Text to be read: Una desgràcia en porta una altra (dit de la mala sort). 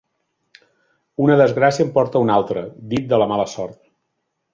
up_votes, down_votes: 4, 1